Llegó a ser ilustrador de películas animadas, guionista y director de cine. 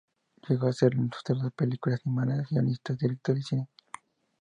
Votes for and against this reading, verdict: 0, 2, rejected